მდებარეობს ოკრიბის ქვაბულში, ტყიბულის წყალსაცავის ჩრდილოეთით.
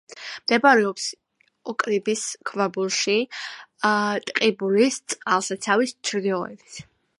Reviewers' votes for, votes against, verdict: 1, 2, rejected